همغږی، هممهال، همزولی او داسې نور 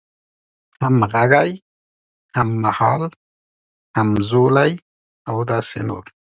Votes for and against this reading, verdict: 2, 0, accepted